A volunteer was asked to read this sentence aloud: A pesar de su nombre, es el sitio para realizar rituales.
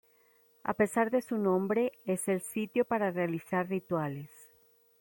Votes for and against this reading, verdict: 2, 0, accepted